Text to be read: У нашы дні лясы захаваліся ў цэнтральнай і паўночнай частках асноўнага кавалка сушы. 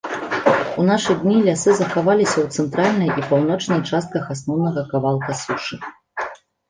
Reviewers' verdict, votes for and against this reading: rejected, 1, 2